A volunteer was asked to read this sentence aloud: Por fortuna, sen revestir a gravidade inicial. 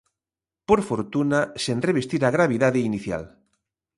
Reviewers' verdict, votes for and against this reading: accepted, 2, 0